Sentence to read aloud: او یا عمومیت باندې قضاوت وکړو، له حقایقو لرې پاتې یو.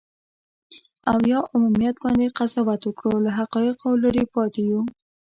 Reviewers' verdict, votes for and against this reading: rejected, 0, 2